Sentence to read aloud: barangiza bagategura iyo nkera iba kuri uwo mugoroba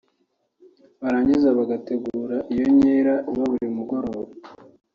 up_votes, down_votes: 3, 1